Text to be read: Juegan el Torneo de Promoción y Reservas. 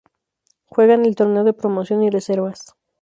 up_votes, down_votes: 2, 0